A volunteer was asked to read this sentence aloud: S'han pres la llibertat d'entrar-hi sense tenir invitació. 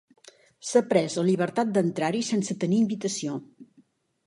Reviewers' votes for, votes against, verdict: 1, 2, rejected